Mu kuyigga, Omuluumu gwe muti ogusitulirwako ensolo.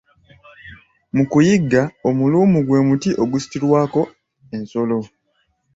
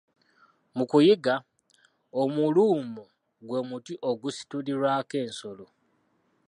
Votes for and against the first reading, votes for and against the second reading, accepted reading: 2, 1, 1, 2, first